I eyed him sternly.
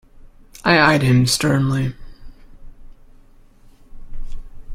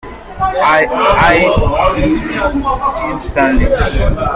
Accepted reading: first